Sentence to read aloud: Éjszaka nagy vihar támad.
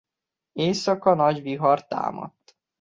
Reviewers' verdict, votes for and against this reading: rejected, 1, 2